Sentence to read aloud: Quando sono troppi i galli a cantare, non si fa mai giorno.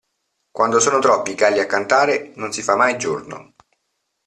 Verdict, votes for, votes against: accepted, 2, 0